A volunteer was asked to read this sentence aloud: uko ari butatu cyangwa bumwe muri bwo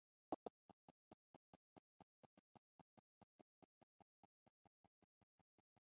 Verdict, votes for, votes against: rejected, 1, 2